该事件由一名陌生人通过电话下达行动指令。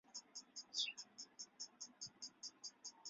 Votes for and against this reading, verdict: 1, 2, rejected